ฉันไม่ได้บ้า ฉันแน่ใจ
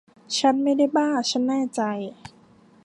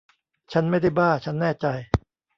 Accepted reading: first